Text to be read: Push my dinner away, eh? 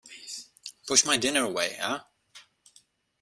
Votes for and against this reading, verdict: 2, 1, accepted